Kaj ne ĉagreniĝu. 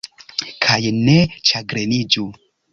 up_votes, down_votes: 2, 0